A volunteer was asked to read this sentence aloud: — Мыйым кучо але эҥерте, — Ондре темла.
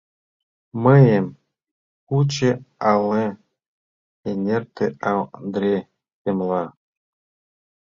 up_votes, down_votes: 0, 2